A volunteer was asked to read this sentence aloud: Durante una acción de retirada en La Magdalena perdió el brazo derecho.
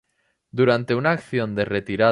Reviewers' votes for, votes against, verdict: 0, 2, rejected